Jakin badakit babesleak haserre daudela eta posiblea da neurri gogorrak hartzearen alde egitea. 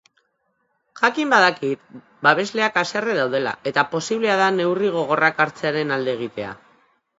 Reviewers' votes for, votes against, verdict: 2, 0, accepted